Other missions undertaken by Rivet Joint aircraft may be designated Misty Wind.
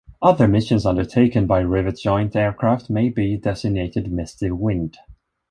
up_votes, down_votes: 3, 0